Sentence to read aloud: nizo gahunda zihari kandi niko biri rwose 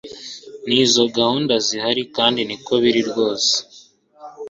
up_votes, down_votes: 2, 0